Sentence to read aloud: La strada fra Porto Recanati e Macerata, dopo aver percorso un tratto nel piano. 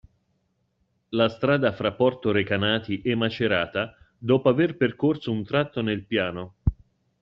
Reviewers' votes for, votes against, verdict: 2, 0, accepted